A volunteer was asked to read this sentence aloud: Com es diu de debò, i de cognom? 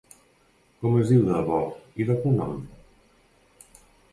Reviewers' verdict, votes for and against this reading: accepted, 3, 0